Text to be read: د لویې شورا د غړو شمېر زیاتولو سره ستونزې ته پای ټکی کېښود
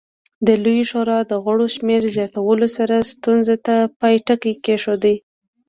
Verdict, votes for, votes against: accepted, 2, 0